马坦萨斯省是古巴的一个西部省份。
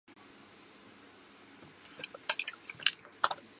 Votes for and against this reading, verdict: 0, 2, rejected